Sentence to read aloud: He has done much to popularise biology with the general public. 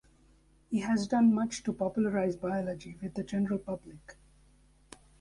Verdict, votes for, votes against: accepted, 2, 0